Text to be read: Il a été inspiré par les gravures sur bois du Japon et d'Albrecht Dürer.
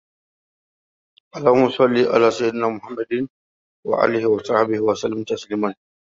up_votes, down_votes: 1, 2